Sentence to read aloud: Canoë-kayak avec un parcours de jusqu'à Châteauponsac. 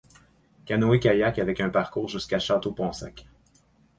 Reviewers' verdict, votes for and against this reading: rejected, 2, 4